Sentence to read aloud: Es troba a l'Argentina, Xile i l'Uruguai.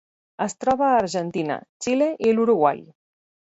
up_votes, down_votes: 0, 4